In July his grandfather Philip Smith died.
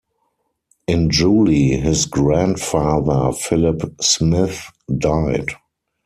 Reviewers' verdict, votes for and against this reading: rejected, 2, 4